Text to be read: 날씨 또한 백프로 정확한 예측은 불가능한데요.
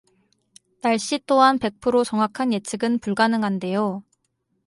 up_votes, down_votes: 2, 0